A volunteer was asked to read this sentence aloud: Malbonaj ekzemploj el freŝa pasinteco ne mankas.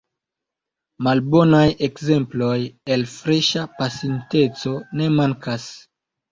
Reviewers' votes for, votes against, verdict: 2, 0, accepted